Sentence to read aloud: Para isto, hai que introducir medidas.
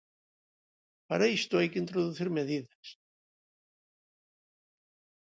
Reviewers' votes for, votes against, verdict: 2, 0, accepted